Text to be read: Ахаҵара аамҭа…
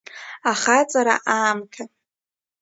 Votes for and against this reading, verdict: 2, 0, accepted